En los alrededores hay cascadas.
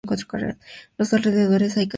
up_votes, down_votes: 0, 2